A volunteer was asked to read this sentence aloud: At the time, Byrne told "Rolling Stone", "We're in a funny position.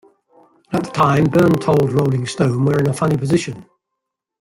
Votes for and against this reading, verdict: 1, 2, rejected